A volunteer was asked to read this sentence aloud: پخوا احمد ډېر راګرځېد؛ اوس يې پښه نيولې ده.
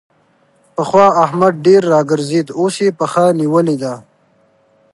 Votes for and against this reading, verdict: 2, 0, accepted